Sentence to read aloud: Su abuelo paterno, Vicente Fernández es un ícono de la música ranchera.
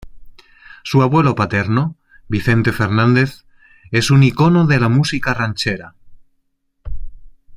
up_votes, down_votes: 0, 2